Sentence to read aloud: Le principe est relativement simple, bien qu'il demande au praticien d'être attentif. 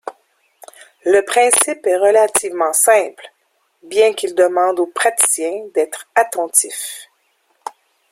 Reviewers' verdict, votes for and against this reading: rejected, 0, 2